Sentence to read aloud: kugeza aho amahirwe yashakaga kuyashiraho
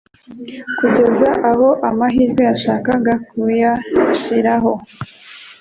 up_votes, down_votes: 2, 0